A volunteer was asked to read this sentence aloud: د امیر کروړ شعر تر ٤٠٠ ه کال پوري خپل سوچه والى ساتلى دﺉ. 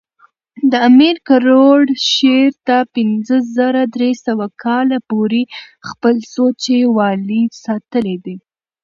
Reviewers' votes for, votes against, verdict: 0, 2, rejected